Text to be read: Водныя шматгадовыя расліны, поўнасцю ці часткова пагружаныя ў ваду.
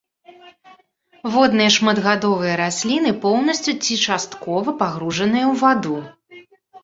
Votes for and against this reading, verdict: 2, 0, accepted